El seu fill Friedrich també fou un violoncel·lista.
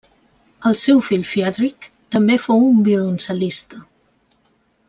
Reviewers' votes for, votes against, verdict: 2, 0, accepted